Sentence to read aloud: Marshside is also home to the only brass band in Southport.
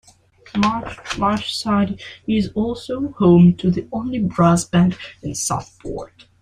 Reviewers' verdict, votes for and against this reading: rejected, 1, 2